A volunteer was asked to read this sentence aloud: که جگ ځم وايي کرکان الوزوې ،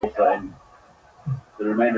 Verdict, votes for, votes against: rejected, 0, 2